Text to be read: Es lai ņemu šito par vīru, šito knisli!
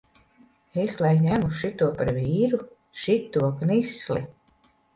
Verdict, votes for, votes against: accepted, 2, 0